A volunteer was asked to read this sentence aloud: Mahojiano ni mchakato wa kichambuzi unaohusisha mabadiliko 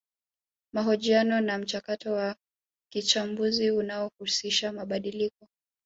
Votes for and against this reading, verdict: 0, 3, rejected